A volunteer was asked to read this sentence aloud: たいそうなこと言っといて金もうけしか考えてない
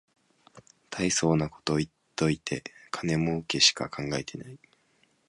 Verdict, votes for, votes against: accepted, 3, 0